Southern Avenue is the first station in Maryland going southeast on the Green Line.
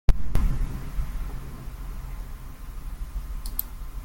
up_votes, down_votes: 1, 2